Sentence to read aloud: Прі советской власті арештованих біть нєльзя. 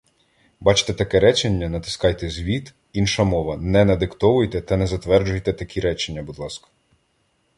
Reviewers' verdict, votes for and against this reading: rejected, 0, 2